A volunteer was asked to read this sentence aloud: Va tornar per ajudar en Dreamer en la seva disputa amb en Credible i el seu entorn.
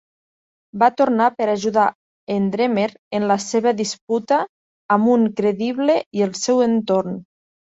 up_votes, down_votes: 1, 2